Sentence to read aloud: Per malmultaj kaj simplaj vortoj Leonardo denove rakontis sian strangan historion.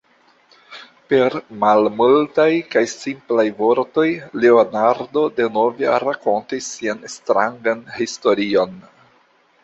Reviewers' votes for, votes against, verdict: 2, 1, accepted